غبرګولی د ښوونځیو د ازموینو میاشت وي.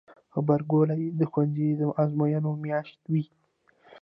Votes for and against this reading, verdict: 1, 2, rejected